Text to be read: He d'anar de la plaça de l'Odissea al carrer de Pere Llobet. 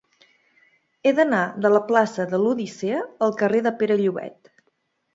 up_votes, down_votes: 2, 0